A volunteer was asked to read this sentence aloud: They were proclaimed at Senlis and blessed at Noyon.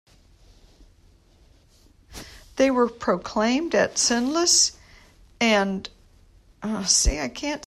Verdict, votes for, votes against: rejected, 0, 2